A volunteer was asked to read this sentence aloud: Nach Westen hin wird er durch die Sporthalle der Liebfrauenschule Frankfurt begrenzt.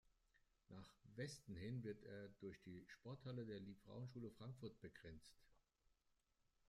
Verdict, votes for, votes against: rejected, 1, 2